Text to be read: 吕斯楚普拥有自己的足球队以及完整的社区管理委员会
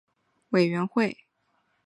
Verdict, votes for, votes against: rejected, 3, 5